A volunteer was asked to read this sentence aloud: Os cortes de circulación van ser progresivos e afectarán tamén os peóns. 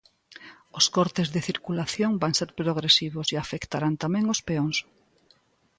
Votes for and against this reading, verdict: 2, 1, accepted